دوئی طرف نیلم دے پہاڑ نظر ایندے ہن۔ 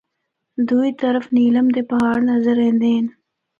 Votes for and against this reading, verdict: 2, 0, accepted